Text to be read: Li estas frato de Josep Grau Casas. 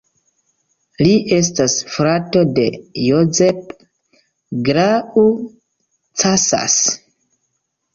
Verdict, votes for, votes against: rejected, 1, 3